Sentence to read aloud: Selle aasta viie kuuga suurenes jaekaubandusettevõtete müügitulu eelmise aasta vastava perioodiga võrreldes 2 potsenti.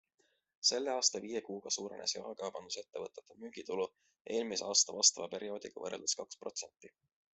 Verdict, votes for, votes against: rejected, 0, 2